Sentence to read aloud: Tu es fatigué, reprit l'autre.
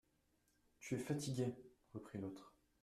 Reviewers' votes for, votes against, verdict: 1, 2, rejected